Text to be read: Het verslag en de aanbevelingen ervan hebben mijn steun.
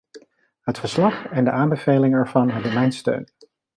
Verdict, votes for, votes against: accepted, 2, 0